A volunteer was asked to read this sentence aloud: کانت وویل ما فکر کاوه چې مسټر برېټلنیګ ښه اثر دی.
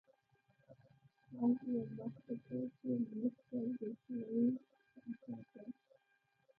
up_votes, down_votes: 1, 2